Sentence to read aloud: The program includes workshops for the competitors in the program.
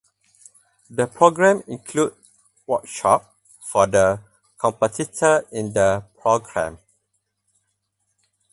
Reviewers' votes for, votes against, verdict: 2, 4, rejected